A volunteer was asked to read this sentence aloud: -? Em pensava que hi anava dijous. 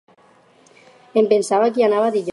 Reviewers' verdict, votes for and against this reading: rejected, 0, 4